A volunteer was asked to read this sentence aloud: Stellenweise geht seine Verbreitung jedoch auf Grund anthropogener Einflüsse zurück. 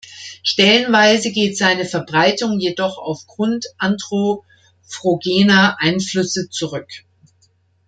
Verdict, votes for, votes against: rejected, 0, 2